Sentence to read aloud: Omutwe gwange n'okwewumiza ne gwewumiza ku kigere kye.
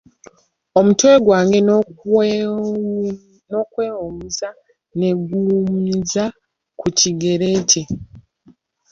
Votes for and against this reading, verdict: 0, 2, rejected